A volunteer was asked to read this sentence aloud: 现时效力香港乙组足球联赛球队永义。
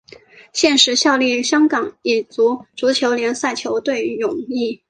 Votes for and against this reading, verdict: 2, 0, accepted